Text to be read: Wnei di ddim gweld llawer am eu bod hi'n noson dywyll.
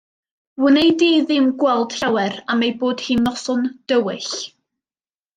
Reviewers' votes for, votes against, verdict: 2, 0, accepted